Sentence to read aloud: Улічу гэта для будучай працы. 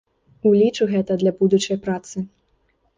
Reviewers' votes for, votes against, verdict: 1, 2, rejected